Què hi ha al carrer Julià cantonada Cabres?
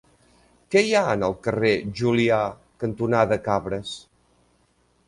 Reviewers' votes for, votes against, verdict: 0, 2, rejected